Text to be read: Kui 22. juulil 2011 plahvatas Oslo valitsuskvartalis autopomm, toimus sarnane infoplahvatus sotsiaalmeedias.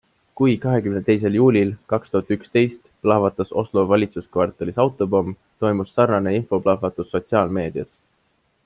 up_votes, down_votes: 0, 2